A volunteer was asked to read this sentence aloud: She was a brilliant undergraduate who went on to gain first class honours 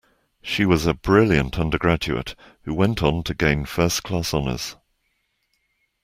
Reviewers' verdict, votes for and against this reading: accepted, 2, 0